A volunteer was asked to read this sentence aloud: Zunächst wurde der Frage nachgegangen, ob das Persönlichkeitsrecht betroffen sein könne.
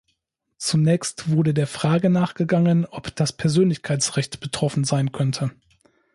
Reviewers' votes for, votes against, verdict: 0, 2, rejected